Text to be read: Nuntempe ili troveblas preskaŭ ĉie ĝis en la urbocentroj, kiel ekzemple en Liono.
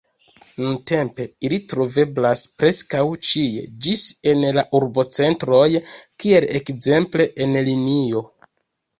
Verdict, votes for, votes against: rejected, 0, 2